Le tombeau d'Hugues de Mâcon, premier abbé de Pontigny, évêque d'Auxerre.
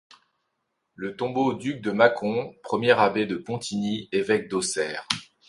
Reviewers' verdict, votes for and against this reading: accepted, 2, 0